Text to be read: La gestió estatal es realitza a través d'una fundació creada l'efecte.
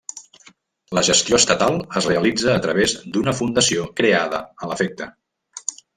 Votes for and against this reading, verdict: 1, 2, rejected